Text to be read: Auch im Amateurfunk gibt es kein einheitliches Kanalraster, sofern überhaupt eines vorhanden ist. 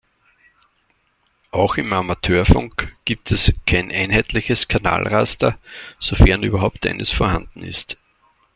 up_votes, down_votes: 2, 0